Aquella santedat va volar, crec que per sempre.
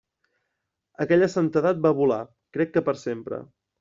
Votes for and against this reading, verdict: 3, 0, accepted